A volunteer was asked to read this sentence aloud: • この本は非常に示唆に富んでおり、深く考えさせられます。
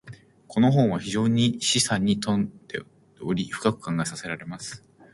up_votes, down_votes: 2, 0